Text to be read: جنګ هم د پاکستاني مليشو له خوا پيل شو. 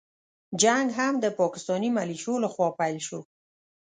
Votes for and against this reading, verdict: 2, 0, accepted